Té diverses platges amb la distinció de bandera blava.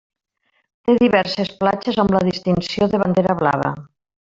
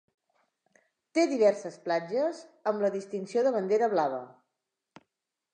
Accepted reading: second